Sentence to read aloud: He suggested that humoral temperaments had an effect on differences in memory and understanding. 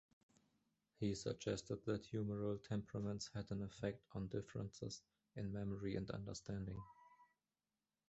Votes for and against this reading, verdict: 2, 1, accepted